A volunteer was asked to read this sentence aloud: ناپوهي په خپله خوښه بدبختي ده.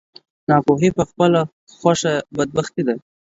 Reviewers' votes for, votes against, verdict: 2, 0, accepted